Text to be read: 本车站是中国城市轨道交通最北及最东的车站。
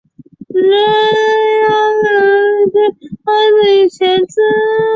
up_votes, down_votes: 0, 2